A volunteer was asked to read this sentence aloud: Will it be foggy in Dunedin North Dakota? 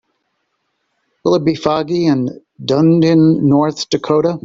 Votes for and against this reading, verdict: 2, 0, accepted